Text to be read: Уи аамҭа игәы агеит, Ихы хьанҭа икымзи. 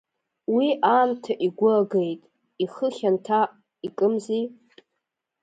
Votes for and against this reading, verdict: 2, 0, accepted